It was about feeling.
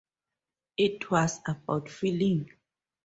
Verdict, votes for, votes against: accepted, 4, 0